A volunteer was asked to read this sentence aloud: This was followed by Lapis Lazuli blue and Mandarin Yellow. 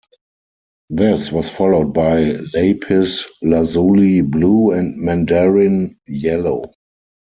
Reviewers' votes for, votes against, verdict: 2, 4, rejected